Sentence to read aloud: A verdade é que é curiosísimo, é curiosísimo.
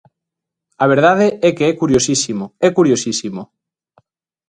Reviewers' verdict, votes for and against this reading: accepted, 2, 0